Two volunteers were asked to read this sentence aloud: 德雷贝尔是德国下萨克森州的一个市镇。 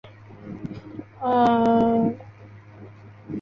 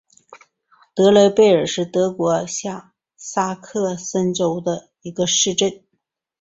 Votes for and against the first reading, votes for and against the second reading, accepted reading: 0, 2, 3, 0, second